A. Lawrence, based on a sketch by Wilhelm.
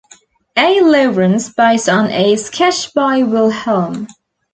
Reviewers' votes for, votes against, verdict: 2, 0, accepted